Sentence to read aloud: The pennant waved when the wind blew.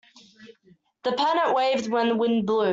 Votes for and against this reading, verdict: 0, 2, rejected